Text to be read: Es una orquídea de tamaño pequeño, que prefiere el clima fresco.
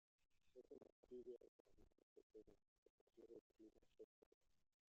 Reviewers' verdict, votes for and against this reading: rejected, 0, 2